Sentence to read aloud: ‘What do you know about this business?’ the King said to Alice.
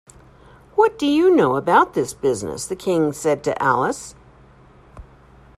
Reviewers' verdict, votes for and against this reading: accepted, 2, 0